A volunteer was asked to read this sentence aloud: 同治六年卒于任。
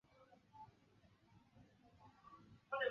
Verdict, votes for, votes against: rejected, 0, 2